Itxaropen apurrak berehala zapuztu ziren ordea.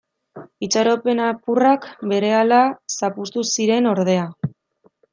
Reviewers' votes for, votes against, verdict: 2, 1, accepted